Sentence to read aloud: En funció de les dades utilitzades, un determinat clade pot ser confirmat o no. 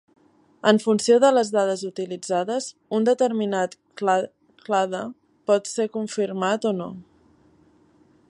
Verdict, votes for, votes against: rejected, 0, 2